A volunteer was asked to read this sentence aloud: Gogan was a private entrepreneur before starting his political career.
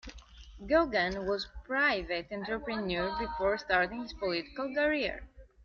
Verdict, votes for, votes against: accepted, 2, 0